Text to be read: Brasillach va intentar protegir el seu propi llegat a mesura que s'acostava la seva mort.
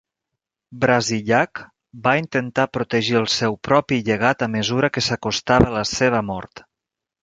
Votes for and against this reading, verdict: 2, 0, accepted